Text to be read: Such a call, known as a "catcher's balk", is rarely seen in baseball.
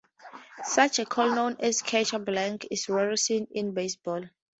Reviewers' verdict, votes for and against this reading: rejected, 0, 4